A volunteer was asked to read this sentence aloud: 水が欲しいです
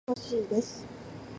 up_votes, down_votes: 0, 3